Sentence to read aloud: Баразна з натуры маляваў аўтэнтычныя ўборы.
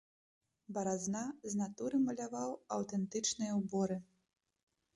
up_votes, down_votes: 4, 0